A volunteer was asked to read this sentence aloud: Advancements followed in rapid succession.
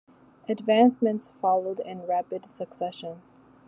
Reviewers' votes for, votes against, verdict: 2, 0, accepted